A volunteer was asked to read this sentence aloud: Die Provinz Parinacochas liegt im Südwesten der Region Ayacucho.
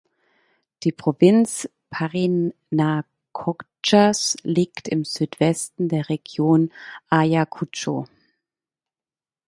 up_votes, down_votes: 2, 1